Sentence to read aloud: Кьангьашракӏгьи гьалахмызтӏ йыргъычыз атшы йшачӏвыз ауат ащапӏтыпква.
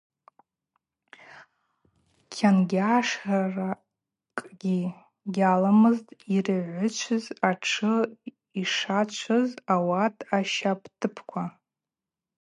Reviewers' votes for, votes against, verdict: 0, 4, rejected